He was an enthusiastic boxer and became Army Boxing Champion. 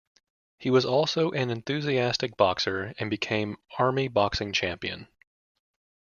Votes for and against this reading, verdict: 0, 2, rejected